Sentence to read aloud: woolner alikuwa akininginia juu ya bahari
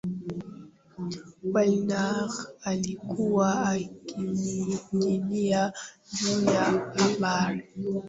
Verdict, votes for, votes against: rejected, 0, 2